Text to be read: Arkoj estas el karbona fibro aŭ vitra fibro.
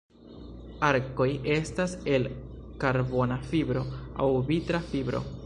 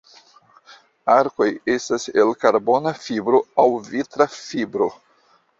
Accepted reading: first